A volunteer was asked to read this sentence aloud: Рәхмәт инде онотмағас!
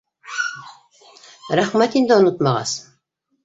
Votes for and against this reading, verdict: 2, 3, rejected